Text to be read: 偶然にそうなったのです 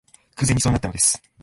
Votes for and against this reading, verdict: 1, 2, rejected